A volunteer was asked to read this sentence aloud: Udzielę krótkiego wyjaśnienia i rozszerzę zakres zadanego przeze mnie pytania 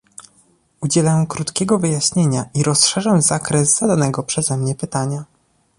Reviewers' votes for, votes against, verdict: 2, 0, accepted